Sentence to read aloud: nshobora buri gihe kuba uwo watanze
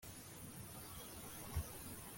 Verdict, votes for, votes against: rejected, 0, 2